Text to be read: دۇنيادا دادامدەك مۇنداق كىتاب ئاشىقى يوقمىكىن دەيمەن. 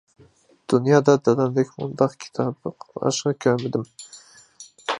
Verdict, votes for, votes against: rejected, 0, 2